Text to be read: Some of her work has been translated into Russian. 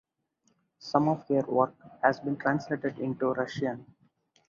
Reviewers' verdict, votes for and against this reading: accepted, 4, 0